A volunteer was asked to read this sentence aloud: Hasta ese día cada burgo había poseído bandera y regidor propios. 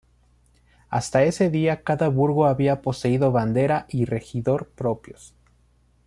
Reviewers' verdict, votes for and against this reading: accepted, 2, 0